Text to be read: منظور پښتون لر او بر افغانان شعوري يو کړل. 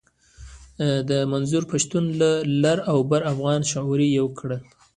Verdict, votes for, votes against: accepted, 2, 1